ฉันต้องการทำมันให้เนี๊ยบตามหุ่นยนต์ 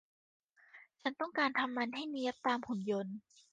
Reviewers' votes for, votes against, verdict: 2, 0, accepted